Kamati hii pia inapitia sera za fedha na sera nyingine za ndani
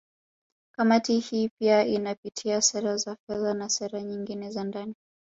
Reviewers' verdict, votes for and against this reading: accepted, 2, 0